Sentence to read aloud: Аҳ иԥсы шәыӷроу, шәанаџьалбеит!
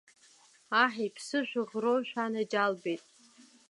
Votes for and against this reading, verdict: 2, 0, accepted